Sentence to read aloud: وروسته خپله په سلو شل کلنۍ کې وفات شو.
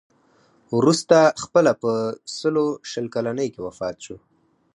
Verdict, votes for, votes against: accepted, 4, 0